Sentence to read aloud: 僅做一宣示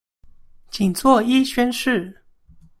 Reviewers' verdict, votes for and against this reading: accepted, 2, 0